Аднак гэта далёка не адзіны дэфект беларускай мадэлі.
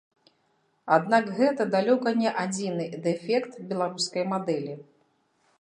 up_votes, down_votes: 2, 0